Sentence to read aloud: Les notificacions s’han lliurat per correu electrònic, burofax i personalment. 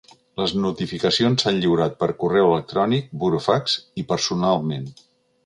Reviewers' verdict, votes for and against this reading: accepted, 2, 0